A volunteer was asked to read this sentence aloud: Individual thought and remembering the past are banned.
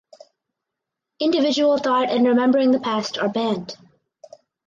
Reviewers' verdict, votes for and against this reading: accepted, 4, 0